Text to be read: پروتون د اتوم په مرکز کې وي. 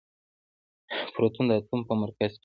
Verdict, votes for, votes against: rejected, 1, 2